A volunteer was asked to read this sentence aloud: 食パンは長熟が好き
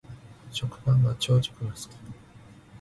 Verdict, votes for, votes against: rejected, 1, 2